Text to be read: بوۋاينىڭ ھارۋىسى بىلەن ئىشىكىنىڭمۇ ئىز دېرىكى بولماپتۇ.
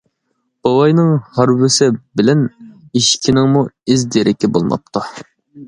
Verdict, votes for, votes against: accepted, 2, 0